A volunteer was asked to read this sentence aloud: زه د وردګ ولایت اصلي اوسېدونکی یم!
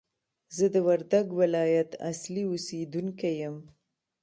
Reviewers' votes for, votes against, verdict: 1, 2, rejected